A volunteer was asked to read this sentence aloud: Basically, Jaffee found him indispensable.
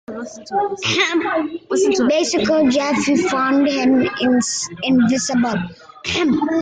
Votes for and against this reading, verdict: 0, 2, rejected